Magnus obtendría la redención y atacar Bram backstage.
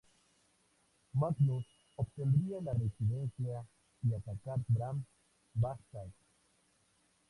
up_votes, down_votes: 4, 0